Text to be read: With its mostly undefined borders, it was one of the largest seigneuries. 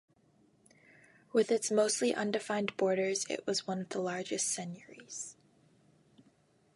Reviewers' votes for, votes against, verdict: 2, 0, accepted